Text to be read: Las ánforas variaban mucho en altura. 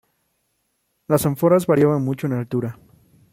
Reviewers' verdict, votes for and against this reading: rejected, 0, 2